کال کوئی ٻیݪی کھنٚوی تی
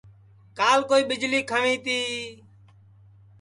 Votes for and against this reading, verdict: 2, 0, accepted